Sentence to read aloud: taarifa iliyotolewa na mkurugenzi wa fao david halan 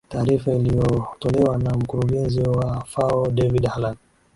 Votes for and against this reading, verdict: 3, 1, accepted